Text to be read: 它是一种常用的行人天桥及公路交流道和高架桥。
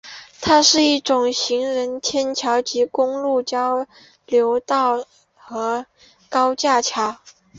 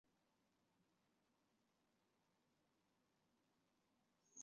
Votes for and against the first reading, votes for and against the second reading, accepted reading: 4, 3, 0, 2, first